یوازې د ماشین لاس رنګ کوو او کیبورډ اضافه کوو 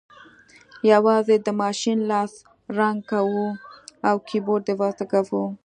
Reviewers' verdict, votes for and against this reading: accepted, 2, 0